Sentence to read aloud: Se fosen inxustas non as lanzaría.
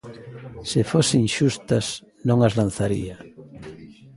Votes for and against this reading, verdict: 1, 2, rejected